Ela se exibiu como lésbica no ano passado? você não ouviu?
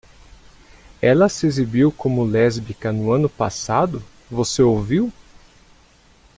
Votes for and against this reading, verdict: 0, 2, rejected